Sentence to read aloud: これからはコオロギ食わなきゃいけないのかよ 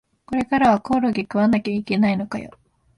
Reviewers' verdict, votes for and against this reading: accepted, 7, 2